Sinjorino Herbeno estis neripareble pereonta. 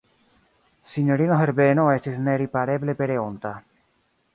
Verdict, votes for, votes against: accepted, 2, 0